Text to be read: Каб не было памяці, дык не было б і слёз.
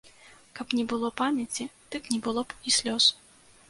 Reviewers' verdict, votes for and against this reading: accepted, 2, 0